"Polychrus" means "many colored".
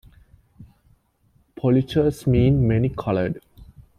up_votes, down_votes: 2, 0